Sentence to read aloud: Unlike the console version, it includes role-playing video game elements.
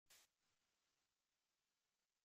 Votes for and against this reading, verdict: 0, 2, rejected